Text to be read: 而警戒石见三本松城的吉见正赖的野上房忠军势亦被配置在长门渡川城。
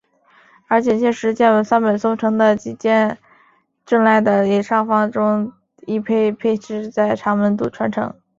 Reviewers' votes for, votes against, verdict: 3, 2, accepted